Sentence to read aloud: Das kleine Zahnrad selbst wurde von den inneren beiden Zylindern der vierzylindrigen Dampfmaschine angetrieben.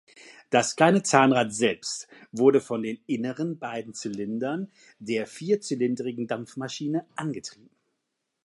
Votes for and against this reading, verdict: 2, 0, accepted